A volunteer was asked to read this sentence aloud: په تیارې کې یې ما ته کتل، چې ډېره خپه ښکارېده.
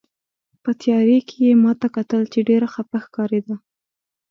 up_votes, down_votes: 3, 0